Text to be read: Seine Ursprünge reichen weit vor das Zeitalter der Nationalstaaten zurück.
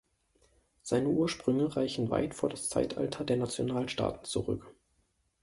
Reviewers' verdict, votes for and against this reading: accepted, 2, 0